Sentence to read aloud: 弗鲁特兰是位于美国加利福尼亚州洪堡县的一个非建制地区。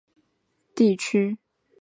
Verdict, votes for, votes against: rejected, 2, 4